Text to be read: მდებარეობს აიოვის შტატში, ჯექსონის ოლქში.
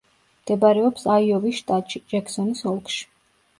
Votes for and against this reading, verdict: 2, 0, accepted